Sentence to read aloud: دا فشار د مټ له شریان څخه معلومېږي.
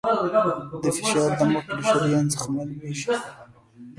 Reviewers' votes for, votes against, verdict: 0, 2, rejected